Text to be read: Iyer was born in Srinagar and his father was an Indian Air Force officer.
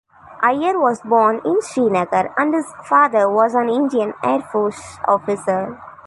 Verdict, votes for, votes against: accepted, 3, 0